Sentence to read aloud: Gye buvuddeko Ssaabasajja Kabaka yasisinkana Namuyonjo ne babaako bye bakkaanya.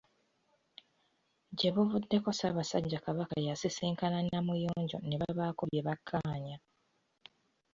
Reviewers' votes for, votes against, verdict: 2, 1, accepted